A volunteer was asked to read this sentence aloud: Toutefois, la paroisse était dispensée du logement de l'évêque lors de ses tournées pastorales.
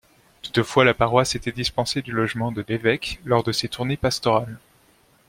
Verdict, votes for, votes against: accepted, 2, 0